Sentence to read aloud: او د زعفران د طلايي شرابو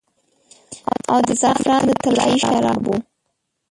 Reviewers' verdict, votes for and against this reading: rejected, 0, 2